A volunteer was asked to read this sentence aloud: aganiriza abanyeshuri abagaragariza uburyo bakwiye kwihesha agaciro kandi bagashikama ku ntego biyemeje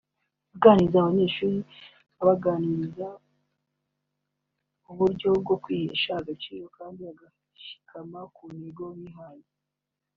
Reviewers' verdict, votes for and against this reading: rejected, 1, 2